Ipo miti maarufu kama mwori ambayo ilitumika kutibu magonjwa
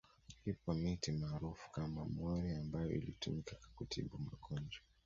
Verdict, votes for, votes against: accepted, 2, 1